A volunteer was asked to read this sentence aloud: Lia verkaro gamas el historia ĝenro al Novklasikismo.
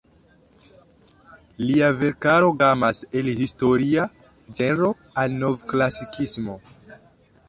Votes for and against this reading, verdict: 2, 0, accepted